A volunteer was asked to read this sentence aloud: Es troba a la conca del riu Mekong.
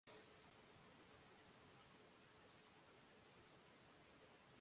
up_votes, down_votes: 0, 2